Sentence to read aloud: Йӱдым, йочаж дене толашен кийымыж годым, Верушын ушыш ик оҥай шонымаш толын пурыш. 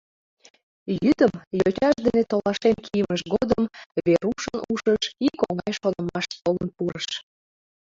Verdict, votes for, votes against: accepted, 4, 3